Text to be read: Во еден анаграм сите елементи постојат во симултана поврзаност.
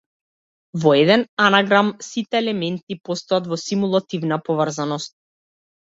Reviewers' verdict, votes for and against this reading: rejected, 0, 2